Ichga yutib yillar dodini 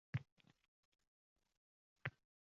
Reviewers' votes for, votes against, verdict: 0, 2, rejected